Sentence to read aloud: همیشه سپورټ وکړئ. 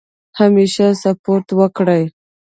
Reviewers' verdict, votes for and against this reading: rejected, 1, 2